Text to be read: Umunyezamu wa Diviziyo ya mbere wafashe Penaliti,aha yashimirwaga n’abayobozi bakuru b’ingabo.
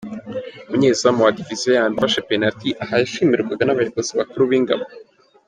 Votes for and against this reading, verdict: 2, 0, accepted